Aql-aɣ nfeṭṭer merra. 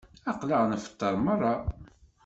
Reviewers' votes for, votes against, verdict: 2, 0, accepted